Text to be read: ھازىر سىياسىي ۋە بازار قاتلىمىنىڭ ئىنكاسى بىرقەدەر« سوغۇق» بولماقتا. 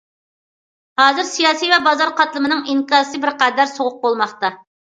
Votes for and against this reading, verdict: 2, 0, accepted